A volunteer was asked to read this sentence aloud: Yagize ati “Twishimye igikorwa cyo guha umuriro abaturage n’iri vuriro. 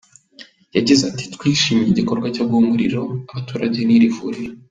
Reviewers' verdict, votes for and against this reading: accepted, 2, 1